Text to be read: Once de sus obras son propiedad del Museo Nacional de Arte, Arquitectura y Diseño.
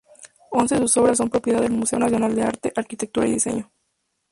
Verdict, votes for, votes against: rejected, 2, 2